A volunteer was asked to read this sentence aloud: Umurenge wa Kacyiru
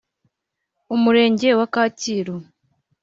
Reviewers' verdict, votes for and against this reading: accepted, 4, 0